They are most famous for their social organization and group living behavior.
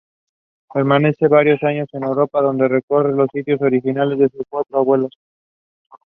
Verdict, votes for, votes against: rejected, 0, 2